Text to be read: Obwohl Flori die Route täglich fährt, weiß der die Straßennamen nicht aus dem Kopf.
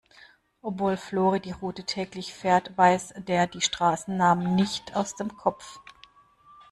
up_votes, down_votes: 2, 0